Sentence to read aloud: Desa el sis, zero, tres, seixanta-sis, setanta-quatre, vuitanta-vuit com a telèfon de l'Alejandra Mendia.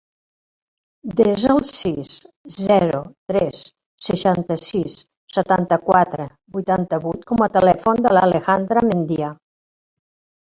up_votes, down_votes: 0, 2